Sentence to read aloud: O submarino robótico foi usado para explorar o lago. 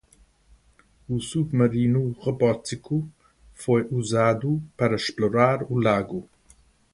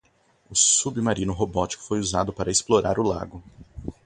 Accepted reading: second